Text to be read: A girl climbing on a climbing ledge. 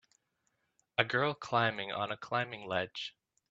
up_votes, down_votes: 2, 0